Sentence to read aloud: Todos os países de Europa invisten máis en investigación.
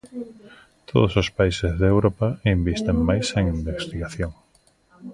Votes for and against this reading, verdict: 1, 2, rejected